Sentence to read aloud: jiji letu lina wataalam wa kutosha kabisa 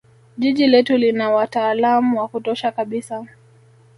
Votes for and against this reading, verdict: 1, 2, rejected